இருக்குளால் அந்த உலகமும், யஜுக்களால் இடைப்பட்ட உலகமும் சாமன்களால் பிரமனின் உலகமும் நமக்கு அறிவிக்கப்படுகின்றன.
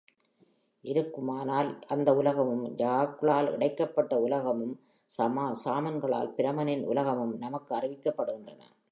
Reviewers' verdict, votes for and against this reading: rejected, 0, 3